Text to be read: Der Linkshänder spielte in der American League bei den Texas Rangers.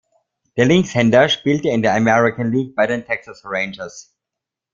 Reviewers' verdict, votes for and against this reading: accepted, 2, 0